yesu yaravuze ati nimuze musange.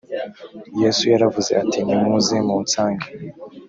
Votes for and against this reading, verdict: 1, 2, rejected